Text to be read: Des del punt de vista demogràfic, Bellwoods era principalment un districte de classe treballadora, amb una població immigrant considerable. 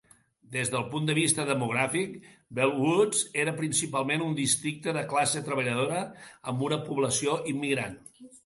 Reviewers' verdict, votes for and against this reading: rejected, 0, 2